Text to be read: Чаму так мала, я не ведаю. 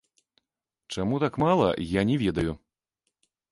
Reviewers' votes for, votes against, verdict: 0, 2, rejected